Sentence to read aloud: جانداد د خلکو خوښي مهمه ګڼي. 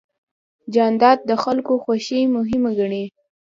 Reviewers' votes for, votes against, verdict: 2, 0, accepted